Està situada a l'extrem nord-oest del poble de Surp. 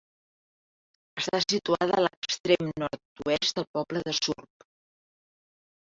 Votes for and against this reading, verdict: 3, 0, accepted